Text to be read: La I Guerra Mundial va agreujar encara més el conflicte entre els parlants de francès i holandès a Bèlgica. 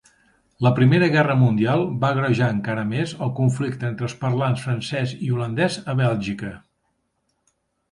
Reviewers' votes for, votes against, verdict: 1, 2, rejected